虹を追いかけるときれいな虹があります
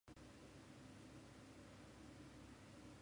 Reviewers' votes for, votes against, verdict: 1, 2, rejected